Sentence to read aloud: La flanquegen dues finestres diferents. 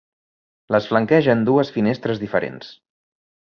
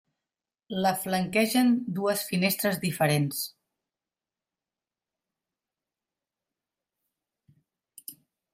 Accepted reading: second